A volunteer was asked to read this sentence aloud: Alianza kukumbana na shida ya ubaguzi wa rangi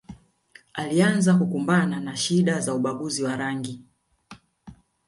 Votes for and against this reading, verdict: 1, 2, rejected